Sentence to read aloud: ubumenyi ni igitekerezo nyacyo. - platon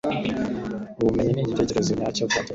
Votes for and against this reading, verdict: 3, 1, accepted